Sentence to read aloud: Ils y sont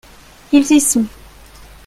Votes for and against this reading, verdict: 0, 2, rejected